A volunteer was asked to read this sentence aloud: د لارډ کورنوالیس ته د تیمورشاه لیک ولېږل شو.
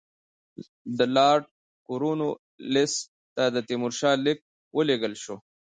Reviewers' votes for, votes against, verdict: 2, 1, accepted